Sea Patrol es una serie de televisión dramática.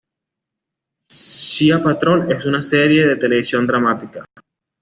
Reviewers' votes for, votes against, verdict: 2, 0, accepted